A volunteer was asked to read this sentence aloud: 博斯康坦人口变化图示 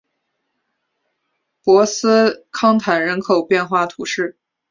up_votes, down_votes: 5, 0